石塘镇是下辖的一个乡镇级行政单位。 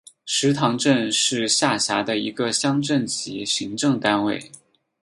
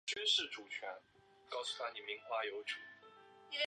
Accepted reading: first